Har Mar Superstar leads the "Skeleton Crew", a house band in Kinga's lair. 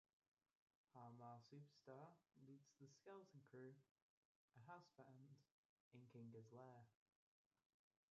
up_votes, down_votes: 0, 2